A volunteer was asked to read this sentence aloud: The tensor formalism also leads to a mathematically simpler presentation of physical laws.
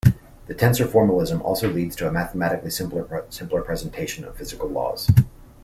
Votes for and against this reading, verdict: 2, 1, accepted